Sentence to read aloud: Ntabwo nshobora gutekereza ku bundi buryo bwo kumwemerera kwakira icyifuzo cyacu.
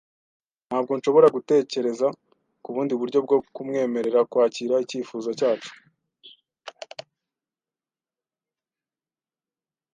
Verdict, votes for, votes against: accepted, 2, 0